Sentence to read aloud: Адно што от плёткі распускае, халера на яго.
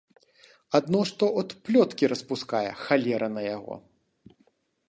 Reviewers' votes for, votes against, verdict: 2, 0, accepted